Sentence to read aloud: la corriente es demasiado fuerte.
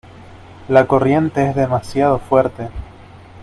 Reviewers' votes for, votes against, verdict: 2, 0, accepted